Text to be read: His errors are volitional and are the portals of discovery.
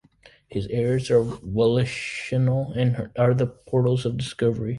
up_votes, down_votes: 1, 2